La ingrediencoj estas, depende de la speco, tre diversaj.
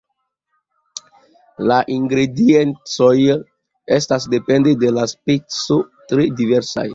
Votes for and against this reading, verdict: 2, 0, accepted